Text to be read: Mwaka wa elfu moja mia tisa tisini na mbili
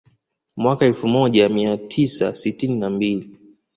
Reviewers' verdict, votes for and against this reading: accepted, 2, 0